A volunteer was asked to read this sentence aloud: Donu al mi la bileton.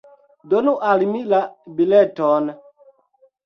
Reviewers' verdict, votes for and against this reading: accepted, 2, 0